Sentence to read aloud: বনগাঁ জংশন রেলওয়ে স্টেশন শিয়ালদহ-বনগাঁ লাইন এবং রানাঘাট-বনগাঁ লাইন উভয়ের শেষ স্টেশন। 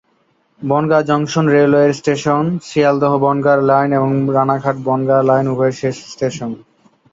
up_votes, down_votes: 3, 0